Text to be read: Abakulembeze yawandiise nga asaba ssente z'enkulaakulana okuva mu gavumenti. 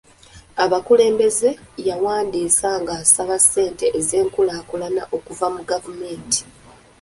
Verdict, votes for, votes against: accepted, 3, 0